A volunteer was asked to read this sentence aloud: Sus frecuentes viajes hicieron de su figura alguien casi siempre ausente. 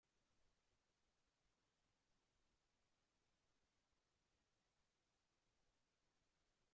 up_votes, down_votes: 0, 2